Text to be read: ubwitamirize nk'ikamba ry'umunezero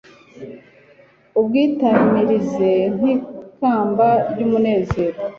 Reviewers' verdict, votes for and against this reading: accepted, 2, 0